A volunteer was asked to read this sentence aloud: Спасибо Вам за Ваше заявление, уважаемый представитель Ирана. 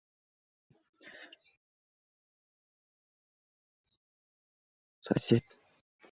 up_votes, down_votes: 0, 2